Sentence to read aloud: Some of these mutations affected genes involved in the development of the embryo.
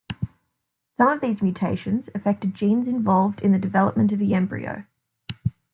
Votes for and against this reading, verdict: 2, 0, accepted